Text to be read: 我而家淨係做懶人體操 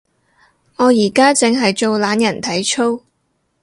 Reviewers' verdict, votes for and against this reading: rejected, 0, 2